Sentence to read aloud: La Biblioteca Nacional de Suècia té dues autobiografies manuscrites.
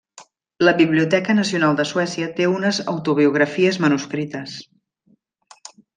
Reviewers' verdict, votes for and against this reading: rejected, 0, 2